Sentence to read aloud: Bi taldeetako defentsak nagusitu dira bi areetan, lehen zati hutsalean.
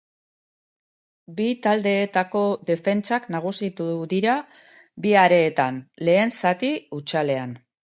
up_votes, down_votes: 2, 0